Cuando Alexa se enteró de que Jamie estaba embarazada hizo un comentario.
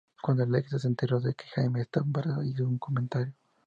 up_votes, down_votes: 0, 2